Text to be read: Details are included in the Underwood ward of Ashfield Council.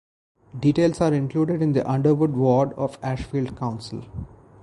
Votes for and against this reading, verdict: 0, 2, rejected